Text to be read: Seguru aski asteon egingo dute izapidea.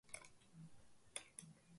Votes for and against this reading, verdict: 0, 2, rejected